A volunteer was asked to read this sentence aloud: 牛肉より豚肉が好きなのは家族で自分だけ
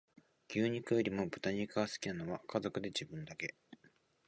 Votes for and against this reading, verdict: 2, 0, accepted